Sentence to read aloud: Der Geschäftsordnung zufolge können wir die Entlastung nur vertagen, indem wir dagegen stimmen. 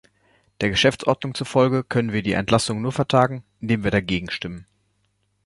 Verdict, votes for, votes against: rejected, 0, 2